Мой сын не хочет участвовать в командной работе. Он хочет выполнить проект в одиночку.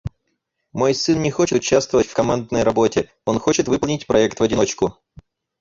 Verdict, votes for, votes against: accepted, 4, 2